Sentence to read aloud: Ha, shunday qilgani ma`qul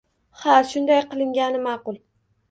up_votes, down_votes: 2, 0